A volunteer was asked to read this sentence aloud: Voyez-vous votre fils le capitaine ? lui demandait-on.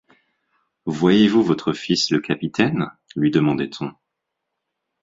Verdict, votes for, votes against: accepted, 6, 0